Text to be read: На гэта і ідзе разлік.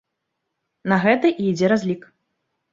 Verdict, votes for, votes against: accepted, 2, 0